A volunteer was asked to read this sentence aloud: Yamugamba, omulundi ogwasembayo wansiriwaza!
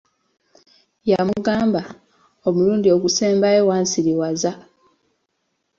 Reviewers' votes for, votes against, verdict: 1, 2, rejected